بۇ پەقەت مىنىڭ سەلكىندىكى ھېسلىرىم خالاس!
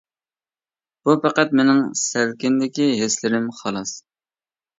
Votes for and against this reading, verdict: 2, 0, accepted